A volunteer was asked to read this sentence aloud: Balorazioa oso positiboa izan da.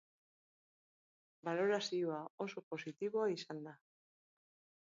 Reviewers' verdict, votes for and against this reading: accepted, 4, 0